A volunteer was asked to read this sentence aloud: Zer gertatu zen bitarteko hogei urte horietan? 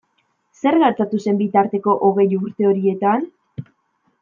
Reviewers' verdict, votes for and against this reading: accepted, 2, 0